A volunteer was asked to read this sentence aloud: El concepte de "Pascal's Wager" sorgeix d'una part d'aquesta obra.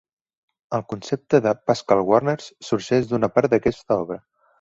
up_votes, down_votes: 2, 1